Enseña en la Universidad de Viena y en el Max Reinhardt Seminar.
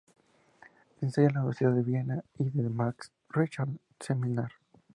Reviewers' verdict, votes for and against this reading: rejected, 0, 2